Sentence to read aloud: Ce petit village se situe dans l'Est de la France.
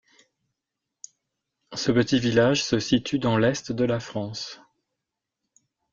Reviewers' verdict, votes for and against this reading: accepted, 2, 0